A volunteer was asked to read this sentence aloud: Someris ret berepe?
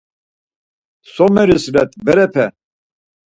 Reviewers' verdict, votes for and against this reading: accepted, 4, 0